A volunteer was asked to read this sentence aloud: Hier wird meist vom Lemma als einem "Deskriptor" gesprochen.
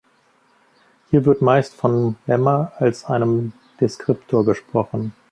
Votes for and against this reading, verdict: 2, 1, accepted